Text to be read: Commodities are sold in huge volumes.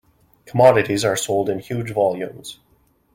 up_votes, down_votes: 2, 0